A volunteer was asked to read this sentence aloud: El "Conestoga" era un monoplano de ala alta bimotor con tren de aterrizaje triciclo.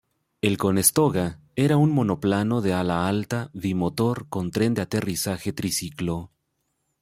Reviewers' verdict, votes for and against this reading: accepted, 2, 0